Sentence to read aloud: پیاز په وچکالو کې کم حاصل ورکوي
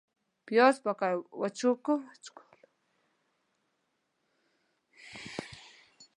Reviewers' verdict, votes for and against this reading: rejected, 0, 2